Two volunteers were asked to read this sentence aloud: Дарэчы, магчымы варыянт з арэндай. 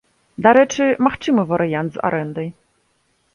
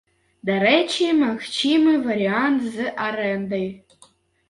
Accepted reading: first